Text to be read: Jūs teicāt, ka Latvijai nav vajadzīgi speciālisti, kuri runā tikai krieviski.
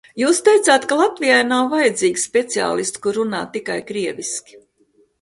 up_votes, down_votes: 2, 0